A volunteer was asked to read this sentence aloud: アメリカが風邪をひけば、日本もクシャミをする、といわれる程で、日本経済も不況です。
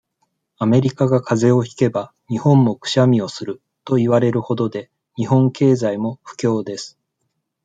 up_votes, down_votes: 2, 0